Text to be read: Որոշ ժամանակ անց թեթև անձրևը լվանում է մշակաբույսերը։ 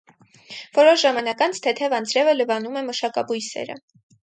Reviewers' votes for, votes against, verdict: 6, 0, accepted